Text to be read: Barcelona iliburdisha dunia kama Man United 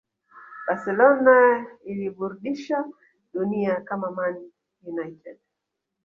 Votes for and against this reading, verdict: 2, 1, accepted